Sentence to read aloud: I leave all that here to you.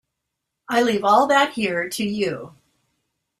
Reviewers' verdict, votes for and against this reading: accepted, 2, 0